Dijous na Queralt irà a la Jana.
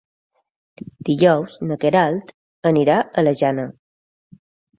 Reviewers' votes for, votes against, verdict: 1, 2, rejected